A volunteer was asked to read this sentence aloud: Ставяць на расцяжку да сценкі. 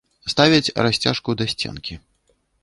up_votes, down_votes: 0, 2